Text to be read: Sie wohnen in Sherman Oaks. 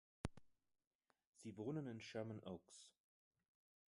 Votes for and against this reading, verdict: 2, 0, accepted